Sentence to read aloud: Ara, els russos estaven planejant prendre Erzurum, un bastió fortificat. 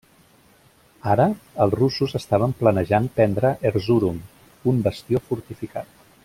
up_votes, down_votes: 1, 2